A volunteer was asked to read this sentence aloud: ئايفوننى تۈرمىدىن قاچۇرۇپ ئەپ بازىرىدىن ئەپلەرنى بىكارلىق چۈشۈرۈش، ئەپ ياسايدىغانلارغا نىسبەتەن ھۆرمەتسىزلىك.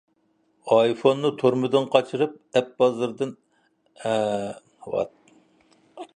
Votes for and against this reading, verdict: 0, 2, rejected